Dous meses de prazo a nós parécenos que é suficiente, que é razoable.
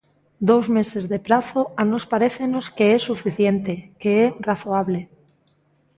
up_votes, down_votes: 2, 0